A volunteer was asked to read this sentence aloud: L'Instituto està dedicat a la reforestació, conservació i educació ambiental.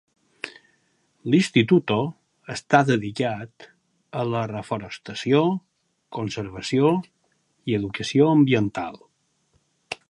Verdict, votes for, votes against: accepted, 5, 0